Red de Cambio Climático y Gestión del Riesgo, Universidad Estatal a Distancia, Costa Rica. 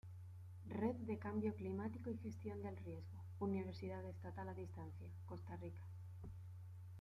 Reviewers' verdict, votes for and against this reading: accepted, 2, 0